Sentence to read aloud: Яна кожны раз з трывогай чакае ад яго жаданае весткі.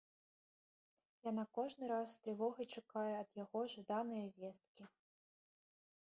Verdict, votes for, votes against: accepted, 2, 0